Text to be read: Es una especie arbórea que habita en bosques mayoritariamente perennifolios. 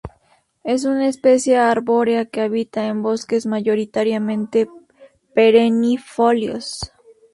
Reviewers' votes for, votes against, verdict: 0, 2, rejected